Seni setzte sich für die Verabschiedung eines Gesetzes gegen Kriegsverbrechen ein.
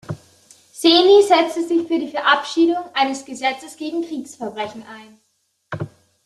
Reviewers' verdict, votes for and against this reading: accepted, 2, 0